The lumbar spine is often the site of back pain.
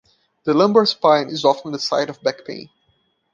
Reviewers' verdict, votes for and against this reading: accepted, 2, 0